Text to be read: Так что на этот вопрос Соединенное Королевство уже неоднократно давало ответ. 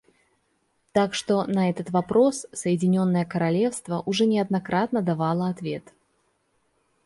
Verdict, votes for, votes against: rejected, 1, 2